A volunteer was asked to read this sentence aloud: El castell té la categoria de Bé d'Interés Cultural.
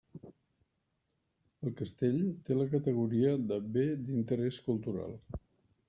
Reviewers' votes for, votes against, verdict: 3, 1, accepted